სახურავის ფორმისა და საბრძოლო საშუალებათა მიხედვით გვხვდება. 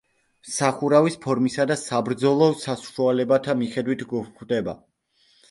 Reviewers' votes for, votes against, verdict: 2, 1, accepted